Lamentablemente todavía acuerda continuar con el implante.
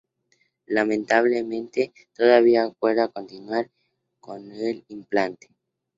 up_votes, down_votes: 2, 0